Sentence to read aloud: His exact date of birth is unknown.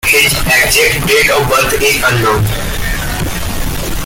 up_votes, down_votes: 0, 2